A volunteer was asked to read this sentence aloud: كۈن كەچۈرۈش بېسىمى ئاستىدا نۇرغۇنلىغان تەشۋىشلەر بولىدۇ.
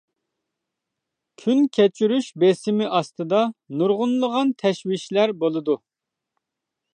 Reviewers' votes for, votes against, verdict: 2, 0, accepted